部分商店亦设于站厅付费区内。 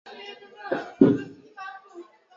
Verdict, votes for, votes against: rejected, 0, 3